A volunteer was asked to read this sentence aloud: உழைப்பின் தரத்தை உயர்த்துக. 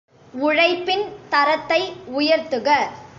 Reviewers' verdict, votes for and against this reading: accepted, 2, 0